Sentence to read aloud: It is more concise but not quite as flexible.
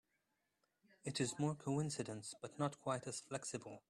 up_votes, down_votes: 0, 2